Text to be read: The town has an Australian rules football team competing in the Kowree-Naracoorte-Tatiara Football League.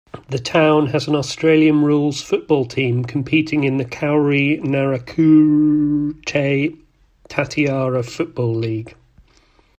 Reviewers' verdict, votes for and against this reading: rejected, 0, 2